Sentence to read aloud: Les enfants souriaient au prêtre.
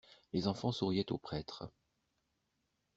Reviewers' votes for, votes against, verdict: 2, 0, accepted